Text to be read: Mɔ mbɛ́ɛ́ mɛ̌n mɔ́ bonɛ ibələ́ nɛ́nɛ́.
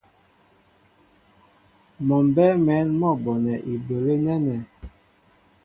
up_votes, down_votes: 2, 0